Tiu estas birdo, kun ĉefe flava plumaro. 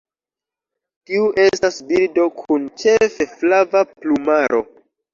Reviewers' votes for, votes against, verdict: 1, 2, rejected